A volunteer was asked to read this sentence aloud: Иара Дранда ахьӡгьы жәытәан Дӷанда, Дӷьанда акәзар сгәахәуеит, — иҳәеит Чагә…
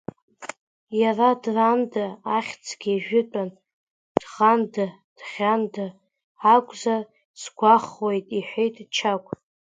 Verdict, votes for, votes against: rejected, 1, 2